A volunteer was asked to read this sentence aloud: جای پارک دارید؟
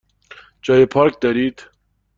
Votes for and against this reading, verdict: 2, 0, accepted